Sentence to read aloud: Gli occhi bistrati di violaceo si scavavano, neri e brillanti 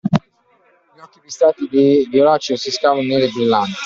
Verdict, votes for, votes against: rejected, 0, 2